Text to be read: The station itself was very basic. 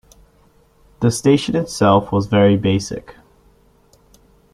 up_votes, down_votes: 2, 0